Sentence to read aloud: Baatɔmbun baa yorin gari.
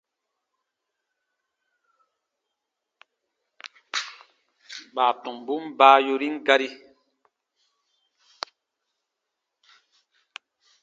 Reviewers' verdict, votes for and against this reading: accepted, 2, 0